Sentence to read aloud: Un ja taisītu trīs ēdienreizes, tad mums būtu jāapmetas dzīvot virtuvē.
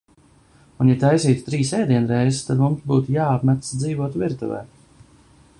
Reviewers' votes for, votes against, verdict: 2, 0, accepted